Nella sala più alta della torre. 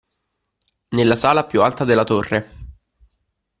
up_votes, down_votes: 2, 0